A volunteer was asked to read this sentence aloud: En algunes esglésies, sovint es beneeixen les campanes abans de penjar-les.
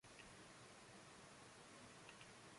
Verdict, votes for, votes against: rejected, 0, 2